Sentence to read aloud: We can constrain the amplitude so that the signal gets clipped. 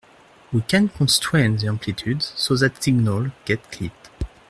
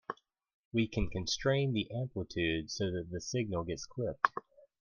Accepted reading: second